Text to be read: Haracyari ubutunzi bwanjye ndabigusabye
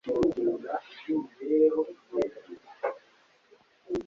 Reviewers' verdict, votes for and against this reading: rejected, 1, 2